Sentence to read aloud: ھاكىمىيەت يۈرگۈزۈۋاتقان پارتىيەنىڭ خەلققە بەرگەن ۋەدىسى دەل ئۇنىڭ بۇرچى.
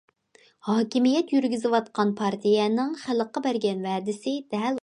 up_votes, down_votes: 0, 2